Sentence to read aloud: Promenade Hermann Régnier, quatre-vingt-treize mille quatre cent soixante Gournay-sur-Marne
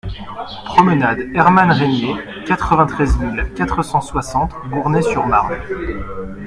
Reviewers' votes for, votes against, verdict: 1, 2, rejected